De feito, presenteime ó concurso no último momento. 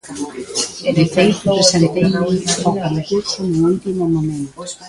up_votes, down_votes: 0, 2